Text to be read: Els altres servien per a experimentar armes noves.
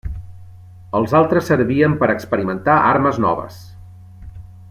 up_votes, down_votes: 2, 0